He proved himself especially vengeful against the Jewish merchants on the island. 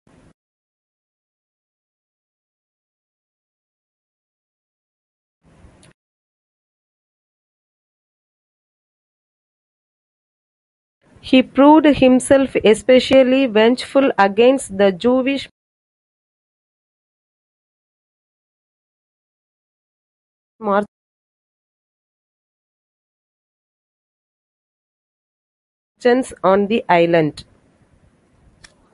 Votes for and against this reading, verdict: 0, 2, rejected